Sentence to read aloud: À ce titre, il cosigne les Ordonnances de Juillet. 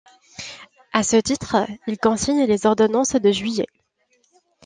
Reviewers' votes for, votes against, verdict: 0, 2, rejected